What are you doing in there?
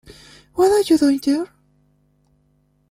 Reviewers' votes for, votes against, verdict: 0, 2, rejected